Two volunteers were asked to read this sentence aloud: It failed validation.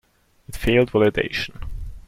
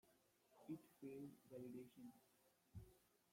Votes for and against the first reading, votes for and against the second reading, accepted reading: 2, 1, 0, 2, first